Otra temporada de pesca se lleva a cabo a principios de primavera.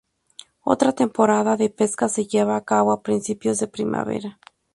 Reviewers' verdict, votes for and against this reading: accepted, 2, 0